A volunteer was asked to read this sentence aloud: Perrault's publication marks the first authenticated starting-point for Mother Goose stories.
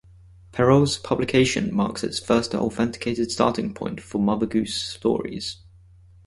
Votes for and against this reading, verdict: 0, 4, rejected